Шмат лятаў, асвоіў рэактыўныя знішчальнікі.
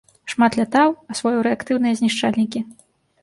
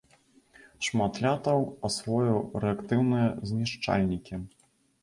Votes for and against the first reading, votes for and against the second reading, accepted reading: 2, 0, 0, 2, first